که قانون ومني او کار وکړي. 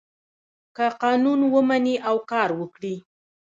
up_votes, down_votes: 0, 2